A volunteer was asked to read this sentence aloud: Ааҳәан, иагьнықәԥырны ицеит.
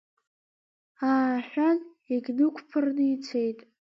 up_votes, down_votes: 2, 1